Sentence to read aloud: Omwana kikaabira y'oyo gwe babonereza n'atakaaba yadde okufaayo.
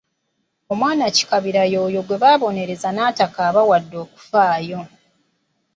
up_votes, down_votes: 0, 2